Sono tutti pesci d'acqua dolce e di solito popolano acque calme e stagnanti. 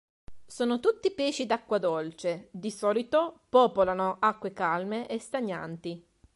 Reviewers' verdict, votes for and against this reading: rejected, 1, 3